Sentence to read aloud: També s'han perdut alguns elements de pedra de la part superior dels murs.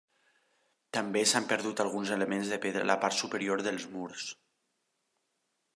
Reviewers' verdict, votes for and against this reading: accepted, 2, 1